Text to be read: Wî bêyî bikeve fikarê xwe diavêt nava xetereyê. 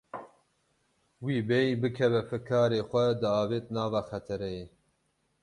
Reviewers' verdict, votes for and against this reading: accepted, 12, 0